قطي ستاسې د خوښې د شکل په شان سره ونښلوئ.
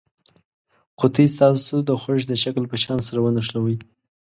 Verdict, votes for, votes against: accepted, 2, 0